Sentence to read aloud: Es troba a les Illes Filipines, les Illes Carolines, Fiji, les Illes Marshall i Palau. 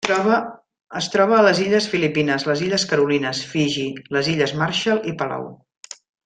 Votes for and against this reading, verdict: 0, 2, rejected